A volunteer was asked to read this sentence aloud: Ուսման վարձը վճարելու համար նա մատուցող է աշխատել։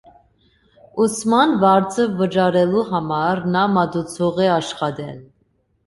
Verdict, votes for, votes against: accepted, 2, 0